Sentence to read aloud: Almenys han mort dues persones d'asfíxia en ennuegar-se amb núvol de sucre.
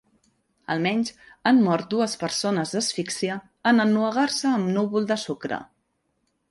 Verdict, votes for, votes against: accepted, 3, 0